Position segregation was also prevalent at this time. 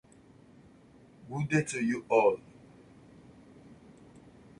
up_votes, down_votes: 0, 2